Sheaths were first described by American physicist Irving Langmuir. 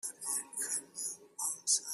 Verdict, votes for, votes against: rejected, 0, 2